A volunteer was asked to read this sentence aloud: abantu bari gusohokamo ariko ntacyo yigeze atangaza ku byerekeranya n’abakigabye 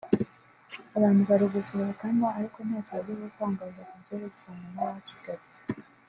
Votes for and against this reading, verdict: 3, 0, accepted